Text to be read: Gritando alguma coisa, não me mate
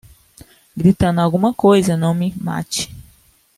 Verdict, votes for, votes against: accepted, 2, 0